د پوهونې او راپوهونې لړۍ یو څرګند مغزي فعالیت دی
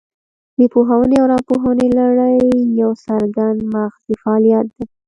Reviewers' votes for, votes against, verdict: 1, 2, rejected